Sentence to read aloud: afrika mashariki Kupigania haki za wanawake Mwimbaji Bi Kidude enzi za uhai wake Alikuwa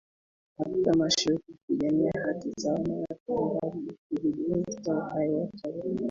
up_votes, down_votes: 0, 2